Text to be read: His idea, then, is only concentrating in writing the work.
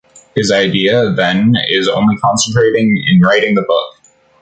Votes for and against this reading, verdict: 0, 2, rejected